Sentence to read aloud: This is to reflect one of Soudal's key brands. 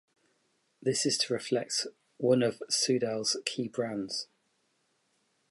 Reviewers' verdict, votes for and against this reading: accepted, 2, 0